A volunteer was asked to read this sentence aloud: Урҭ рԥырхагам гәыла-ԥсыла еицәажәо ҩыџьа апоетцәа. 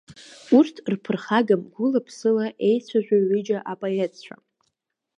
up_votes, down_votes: 2, 0